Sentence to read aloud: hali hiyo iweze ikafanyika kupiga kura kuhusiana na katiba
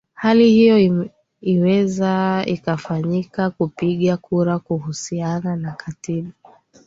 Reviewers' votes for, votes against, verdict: 2, 0, accepted